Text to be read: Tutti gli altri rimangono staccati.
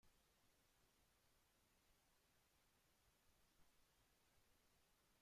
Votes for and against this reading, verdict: 0, 2, rejected